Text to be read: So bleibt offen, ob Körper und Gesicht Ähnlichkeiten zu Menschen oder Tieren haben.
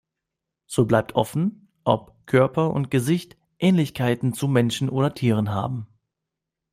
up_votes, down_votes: 2, 0